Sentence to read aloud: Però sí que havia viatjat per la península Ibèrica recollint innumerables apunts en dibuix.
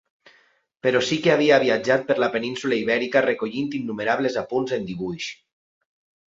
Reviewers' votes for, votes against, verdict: 2, 0, accepted